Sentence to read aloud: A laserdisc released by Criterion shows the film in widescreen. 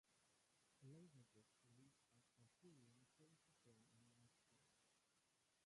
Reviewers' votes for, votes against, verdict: 0, 2, rejected